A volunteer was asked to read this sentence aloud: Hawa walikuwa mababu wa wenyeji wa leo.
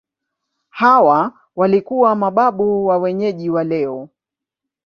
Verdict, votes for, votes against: accepted, 2, 0